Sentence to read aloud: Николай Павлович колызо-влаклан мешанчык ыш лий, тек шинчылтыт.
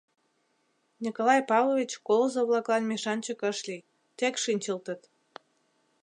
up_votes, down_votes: 2, 0